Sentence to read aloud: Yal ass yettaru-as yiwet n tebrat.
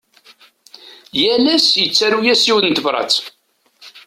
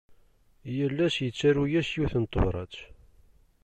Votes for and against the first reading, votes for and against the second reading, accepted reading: 1, 2, 2, 0, second